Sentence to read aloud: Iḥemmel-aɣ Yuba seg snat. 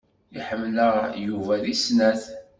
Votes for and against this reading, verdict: 1, 2, rejected